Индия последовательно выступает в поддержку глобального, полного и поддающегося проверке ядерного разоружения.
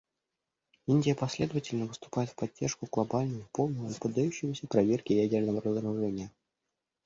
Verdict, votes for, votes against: rejected, 0, 2